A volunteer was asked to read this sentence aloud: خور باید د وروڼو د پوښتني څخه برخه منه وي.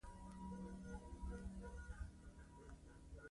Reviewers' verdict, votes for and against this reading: rejected, 1, 2